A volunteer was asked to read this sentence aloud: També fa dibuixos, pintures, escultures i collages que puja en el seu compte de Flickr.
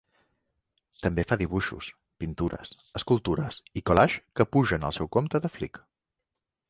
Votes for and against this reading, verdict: 2, 0, accepted